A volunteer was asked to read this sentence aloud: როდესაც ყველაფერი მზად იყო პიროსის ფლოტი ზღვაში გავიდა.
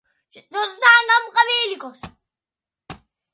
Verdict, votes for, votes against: rejected, 0, 2